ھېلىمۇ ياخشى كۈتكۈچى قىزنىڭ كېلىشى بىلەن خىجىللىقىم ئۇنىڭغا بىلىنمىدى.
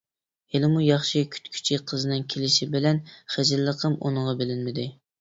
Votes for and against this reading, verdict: 2, 0, accepted